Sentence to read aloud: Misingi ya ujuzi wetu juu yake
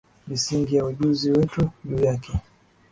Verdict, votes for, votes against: accepted, 4, 1